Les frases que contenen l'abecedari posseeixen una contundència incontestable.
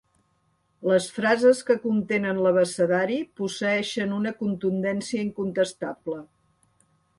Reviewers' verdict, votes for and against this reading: accepted, 3, 0